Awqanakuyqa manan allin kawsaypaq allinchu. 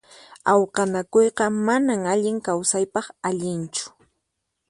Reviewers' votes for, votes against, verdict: 4, 0, accepted